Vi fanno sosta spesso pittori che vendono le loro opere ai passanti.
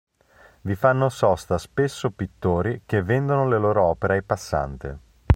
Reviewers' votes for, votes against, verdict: 1, 2, rejected